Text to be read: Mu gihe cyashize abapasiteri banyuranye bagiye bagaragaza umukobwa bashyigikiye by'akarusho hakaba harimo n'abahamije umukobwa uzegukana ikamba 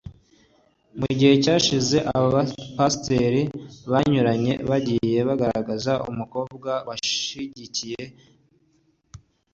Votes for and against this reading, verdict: 1, 2, rejected